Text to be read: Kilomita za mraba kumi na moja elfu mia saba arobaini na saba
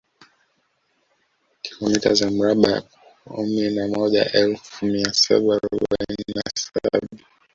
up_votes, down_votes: 0, 2